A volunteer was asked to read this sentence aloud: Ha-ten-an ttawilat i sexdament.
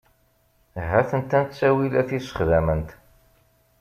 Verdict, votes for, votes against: rejected, 1, 2